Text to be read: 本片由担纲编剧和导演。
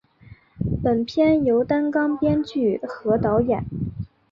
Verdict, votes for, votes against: accepted, 5, 1